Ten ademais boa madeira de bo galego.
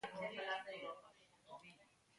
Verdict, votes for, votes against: rejected, 0, 2